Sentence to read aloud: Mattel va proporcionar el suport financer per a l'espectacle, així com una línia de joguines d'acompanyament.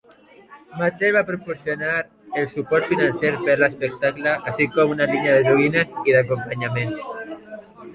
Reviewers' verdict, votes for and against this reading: rejected, 1, 2